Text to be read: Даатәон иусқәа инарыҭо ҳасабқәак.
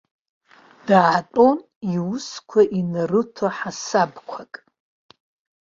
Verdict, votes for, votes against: accepted, 2, 0